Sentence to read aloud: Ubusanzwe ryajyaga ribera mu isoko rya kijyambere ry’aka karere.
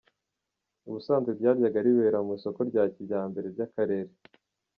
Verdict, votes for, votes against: rejected, 1, 2